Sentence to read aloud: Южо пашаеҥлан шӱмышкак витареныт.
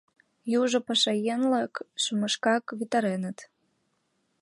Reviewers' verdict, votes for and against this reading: rejected, 1, 3